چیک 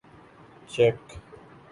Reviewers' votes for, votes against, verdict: 2, 0, accepted